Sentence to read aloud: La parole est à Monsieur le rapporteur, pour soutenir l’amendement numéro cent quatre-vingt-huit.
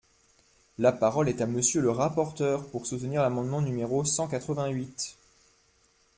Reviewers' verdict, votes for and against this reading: accepted, 2, 0